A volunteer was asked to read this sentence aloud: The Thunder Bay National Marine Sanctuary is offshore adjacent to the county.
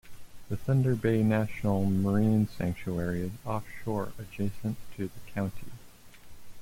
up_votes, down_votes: 1, 3